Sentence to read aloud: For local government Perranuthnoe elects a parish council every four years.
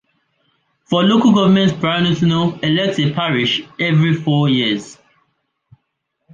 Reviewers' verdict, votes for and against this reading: rejected, 0, 2